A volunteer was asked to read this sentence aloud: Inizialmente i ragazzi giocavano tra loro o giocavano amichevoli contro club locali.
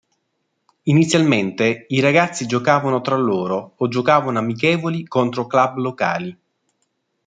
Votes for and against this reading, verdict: 2, 0, accepted